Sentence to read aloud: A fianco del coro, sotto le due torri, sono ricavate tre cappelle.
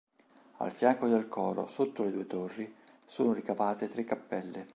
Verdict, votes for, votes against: rejected, 1, 2